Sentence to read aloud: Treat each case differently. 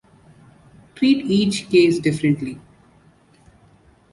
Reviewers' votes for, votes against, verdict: 2, 0, accepted